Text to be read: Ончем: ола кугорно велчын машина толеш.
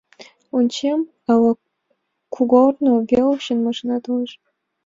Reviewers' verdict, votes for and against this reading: rejected, 2, 3